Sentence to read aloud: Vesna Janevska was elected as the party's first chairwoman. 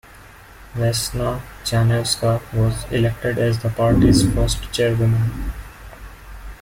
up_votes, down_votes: 2, 0